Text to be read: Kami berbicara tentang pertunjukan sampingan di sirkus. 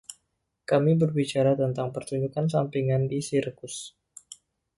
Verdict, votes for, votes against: accepted, 2, 0